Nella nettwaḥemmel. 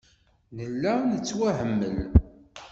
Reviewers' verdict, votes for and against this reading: rejected, 1, 2